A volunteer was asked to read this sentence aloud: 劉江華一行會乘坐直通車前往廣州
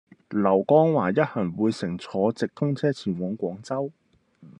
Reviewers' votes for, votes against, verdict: 2, 1, accepted